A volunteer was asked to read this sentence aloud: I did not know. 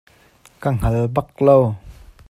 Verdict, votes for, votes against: rejected, 0, 2